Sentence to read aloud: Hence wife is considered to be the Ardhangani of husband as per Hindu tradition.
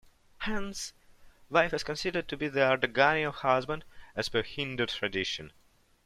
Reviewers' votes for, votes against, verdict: 2, 0, accepted